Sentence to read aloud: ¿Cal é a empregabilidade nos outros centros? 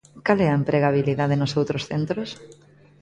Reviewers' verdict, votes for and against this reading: accepted, 2, 0